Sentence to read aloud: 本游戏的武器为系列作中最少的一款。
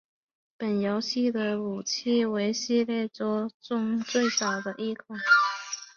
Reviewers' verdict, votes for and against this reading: accepted, 2, 0